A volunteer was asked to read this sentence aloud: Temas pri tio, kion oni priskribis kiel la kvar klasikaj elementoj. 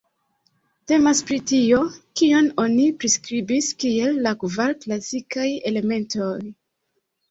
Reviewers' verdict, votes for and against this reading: accepted, 2, 0